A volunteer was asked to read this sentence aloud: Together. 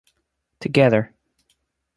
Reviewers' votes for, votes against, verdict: 2, 0, accepted